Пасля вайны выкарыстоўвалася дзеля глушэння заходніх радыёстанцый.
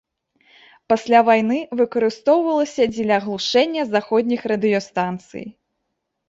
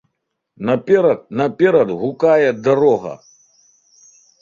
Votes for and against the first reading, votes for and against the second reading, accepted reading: 2, 0, 0, 2, first